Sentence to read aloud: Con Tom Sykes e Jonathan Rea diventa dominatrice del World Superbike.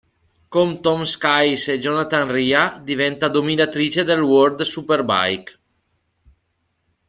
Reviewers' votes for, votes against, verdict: 1, 2, rejected